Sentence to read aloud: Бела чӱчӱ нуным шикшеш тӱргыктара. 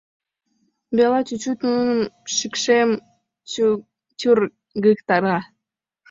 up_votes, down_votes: 1, 2